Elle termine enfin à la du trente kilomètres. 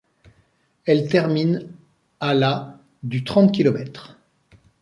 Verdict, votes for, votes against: rejected, 1, 2